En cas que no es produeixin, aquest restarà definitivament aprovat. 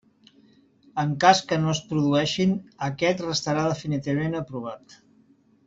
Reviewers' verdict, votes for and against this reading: accepted, 3, 1